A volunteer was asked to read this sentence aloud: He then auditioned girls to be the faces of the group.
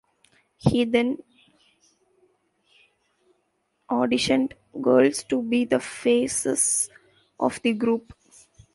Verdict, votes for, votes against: rejected, 1, 2